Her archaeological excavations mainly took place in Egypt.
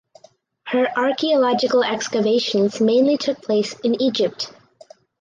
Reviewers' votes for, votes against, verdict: 4, 0, accepted